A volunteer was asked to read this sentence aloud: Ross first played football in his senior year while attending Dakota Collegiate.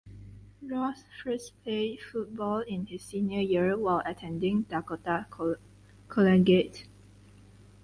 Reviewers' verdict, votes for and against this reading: rejected, 0, 4